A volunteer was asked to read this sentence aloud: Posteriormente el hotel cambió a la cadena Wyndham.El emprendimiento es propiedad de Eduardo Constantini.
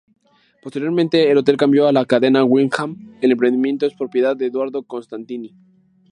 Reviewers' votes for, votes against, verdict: 2, 0, accepted